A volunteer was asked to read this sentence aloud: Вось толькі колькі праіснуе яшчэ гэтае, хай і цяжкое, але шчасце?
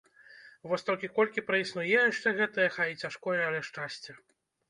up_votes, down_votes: 2, 0